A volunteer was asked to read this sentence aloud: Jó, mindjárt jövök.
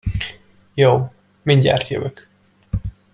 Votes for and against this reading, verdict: 2, 0, accepted